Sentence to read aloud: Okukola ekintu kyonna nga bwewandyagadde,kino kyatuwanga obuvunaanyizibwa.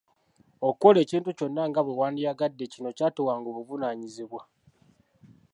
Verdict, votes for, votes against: accepted, 2, 0